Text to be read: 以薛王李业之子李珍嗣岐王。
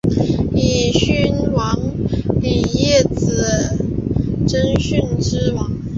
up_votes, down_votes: 1, 4